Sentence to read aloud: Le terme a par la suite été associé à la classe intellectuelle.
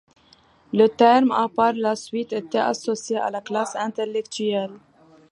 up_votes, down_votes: 2, 0